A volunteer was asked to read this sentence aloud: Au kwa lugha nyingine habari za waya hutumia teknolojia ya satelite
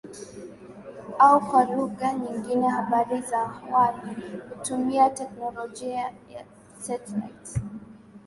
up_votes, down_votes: 8, 4